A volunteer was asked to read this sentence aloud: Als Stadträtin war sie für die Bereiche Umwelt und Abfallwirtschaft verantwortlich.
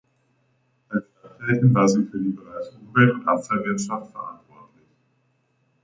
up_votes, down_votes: 0, 2